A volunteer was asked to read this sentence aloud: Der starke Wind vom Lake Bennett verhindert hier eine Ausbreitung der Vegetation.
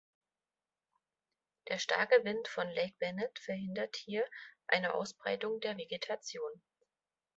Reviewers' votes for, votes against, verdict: 0, 2, rejected